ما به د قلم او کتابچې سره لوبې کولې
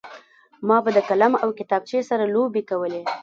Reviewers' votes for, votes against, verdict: 1, 2, rejected